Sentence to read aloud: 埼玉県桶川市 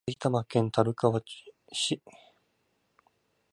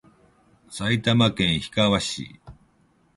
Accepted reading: second